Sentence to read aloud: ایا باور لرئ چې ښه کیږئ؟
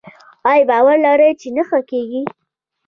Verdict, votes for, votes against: rejected, 1, 2